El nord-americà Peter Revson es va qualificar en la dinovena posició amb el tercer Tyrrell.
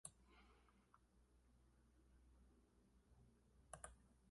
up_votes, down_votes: 0, 2